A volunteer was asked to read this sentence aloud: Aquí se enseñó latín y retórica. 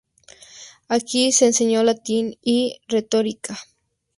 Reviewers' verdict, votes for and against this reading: accepted, 2, 0